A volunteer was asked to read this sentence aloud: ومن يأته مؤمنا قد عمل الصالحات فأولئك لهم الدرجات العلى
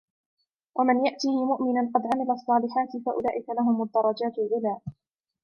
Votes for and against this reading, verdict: 2, 0, accepted